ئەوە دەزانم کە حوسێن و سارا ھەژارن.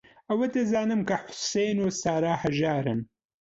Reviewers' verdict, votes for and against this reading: accepted, 2, 0